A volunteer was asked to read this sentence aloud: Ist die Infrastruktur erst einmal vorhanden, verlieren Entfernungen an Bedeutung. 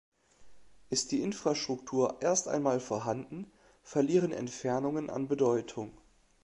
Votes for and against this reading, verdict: 3, 0, accepted